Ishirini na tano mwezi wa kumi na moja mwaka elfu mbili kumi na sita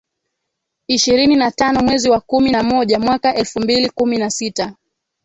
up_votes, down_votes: 2, 1